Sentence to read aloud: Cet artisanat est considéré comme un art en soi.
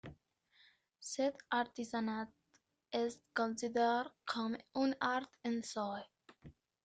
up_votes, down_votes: 0, 2